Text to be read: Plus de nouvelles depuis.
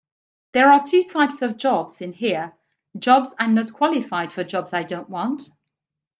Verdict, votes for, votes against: rejected, 0, 2